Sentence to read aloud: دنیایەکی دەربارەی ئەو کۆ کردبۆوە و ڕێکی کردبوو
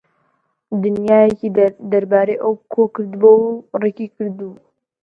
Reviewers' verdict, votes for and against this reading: accepted, 2, 0